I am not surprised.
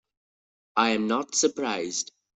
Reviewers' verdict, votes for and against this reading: accepted, 2, 0